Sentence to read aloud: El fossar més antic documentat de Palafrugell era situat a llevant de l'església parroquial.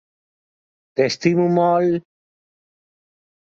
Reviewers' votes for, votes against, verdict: 0, 2, rejected